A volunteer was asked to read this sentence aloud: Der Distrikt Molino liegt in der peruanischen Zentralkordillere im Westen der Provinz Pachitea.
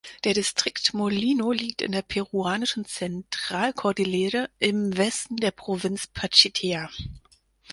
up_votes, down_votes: 4, 0